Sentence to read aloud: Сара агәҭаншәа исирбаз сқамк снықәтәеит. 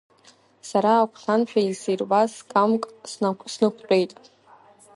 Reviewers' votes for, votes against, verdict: 1, 2, rejected